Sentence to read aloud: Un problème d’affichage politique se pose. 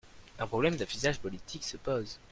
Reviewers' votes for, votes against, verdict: 0, 2, rejected